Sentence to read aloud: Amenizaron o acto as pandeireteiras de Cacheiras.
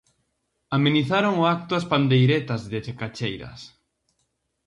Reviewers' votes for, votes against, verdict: 0, 4, rejected